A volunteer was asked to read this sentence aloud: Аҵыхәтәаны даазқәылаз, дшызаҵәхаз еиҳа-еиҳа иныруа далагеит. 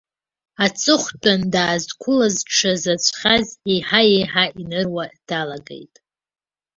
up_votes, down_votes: 0, 2